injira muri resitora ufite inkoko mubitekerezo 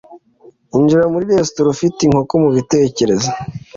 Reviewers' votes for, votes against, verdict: 2, 0, accepted